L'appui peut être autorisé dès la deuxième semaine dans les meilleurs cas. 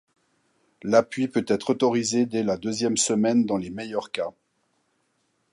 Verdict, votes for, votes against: accepted, 2, 0